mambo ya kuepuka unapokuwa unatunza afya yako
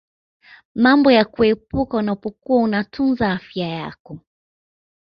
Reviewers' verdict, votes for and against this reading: rejected, 1, 2